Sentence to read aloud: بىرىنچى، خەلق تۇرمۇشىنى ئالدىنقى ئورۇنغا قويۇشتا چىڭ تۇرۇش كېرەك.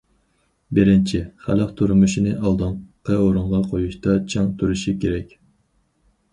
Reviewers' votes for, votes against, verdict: 2, 2, rejected